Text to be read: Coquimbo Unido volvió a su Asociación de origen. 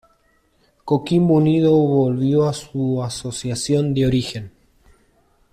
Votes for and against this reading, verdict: 1, 2, rejected